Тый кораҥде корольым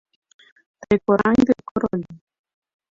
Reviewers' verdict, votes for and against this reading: rejected, 0, 2